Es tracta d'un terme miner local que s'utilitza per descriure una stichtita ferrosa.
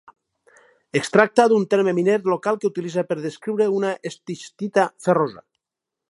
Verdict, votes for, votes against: rejected, 2, 2